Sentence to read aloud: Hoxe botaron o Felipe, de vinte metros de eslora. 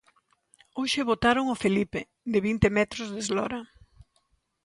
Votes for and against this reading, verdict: 2, 0, accepted